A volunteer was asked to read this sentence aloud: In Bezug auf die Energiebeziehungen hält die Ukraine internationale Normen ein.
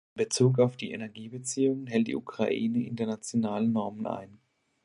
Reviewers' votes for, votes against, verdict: 0, 4, rejected